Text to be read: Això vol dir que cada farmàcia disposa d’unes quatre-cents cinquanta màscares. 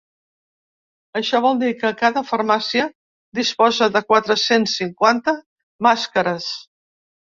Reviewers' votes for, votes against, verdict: 0, 3, rejected